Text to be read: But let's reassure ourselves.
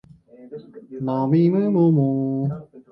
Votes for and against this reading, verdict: 0, 2, rejected